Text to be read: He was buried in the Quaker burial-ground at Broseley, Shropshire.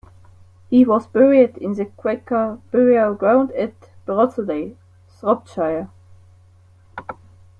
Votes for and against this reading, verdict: 2, 1, accepted